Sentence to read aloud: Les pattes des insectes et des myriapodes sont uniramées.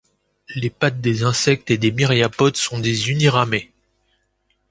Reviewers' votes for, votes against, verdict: 1, 2, rejected